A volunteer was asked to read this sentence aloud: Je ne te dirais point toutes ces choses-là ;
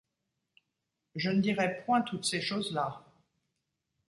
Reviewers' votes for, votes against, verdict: 0, 2, rejected